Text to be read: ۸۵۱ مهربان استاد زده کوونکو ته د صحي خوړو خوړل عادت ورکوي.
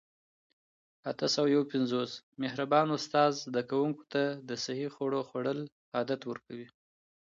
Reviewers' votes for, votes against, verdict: 0, 2, rejected